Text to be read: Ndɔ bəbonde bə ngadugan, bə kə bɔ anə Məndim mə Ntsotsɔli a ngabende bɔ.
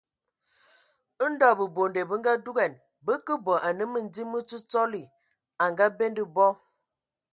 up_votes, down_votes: 2, 0